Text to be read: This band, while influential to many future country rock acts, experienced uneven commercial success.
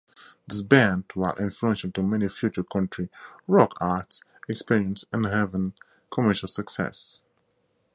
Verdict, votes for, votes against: rejected, 0, 4